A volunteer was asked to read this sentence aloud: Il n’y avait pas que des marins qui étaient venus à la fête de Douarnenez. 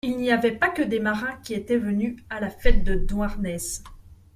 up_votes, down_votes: 1, 2